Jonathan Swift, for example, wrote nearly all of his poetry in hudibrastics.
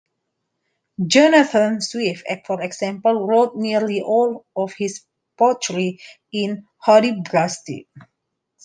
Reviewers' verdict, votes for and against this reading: rejected, 0, 2